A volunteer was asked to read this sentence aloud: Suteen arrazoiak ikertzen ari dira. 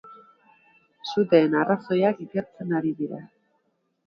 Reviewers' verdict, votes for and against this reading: accepted, 2, 0